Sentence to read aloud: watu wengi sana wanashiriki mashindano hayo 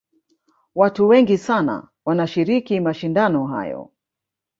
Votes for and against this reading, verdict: 0, 2, rejected